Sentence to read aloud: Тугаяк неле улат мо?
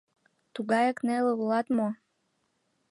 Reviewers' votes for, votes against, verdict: 2, 0, accepted